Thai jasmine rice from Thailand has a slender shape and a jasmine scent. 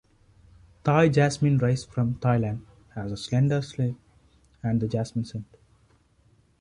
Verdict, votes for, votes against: rejected, 1, 2